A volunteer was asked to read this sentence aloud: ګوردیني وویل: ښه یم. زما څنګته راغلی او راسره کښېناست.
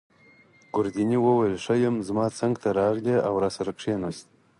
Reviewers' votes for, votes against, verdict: 4, 0, accepted